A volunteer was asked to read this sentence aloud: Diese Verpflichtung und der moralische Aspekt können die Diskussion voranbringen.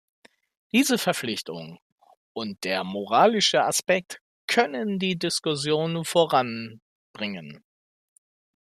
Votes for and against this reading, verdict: 2, 0, accepted